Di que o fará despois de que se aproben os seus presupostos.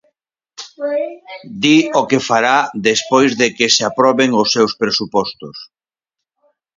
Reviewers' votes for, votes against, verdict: 2, 4, rejected